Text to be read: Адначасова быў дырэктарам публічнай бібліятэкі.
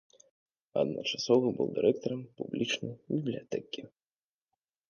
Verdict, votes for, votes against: accepted, 2, 0